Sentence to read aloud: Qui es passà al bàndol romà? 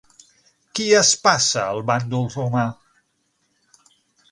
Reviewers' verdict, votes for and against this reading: rejected, 0, 6